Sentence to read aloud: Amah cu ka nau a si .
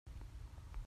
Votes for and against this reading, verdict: 1, 2, rejected